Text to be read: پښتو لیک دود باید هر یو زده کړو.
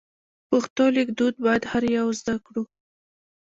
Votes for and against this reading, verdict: 1, 2, rejected